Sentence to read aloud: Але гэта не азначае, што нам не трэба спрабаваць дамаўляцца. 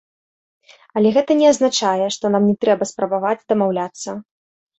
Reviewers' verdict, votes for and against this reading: accepted, 2, 0